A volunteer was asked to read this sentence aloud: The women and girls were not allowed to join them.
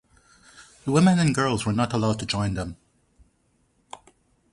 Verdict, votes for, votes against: rejected, 2, 2